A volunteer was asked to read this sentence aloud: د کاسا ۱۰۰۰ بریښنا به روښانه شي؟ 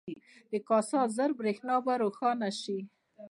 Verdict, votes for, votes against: rejected, 0, 2